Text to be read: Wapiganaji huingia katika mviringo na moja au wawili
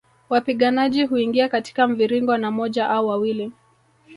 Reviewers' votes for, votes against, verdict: 1, 2, rejected